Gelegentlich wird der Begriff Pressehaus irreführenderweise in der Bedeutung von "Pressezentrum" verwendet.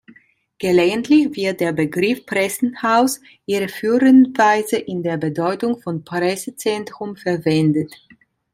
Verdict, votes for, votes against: rejected, 0, 2